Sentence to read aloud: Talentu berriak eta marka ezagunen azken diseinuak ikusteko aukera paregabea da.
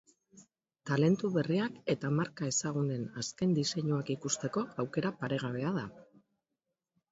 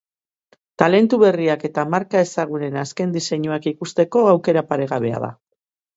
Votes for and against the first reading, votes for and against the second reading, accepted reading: 3, 5, 3, 0, second